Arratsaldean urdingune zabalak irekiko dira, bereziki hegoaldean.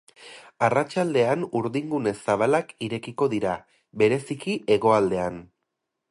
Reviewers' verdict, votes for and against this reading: accepted, 4, 0